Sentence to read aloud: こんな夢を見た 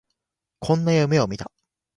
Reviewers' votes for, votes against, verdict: 2, 0, accepted